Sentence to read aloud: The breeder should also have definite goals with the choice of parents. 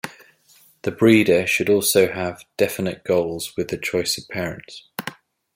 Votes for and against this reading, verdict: 2, 0, accepted